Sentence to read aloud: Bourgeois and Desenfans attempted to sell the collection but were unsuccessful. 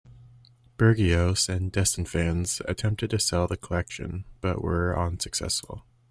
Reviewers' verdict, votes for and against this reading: rejected, 0, 2